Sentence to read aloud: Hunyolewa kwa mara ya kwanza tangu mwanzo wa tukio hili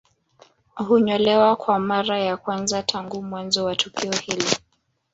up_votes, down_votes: 1, 2